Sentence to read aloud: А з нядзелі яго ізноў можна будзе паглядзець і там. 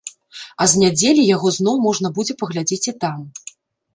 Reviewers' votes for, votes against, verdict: 1, 2, rejected